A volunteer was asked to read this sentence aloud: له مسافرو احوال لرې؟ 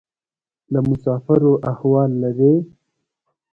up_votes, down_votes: 2, 0